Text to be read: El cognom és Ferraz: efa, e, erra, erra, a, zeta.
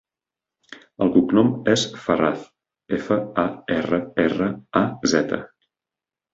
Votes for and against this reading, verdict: 2, 4, rejected